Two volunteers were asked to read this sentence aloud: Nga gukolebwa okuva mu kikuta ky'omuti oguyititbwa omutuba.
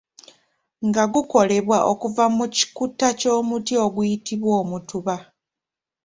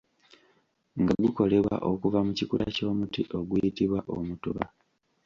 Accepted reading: first